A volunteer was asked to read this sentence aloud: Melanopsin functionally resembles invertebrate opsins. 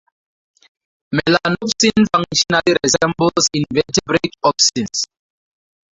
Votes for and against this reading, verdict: 0, 4, rejected